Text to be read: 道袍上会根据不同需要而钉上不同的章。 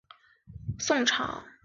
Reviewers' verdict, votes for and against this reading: rejected, 1, 5